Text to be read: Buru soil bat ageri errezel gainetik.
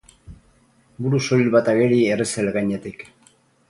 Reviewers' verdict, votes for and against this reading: rejected, 2, 4